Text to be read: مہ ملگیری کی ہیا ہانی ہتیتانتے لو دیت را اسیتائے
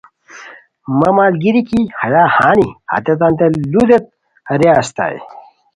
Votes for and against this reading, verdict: 2, 0, accepted